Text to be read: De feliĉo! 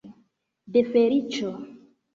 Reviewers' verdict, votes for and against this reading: accepted, 2, 1